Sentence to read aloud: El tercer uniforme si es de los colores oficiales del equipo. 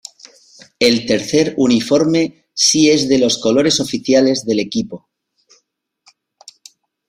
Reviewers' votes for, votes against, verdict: 3, 0, accepted